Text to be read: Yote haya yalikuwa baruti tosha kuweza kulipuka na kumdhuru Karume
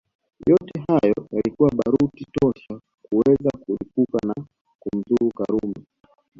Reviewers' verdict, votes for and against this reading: accepted, 2, 1